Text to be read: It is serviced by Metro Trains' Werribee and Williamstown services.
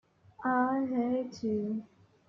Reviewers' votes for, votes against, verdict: 0, 2, rejected